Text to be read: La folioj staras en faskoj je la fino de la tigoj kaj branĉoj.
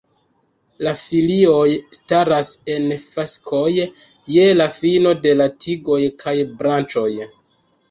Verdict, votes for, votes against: rejected, 0, 2